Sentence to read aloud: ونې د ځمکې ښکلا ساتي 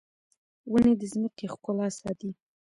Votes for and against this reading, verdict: 0, 2, rejected